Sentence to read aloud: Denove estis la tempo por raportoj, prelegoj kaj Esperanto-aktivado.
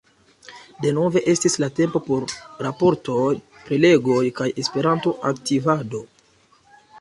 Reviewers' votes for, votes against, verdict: 2, 0, accepted